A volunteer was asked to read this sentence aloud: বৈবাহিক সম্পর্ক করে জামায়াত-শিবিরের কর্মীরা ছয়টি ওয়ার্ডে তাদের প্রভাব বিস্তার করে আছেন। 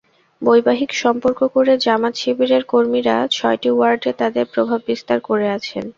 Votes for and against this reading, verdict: 2, 0, accepted